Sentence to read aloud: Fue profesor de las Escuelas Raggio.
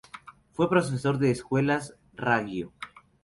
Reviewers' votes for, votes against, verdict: 2, 2, rejected